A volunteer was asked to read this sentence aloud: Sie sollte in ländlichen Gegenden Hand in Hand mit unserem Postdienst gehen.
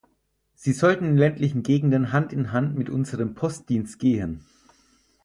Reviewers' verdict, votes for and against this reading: rejected, 2, 4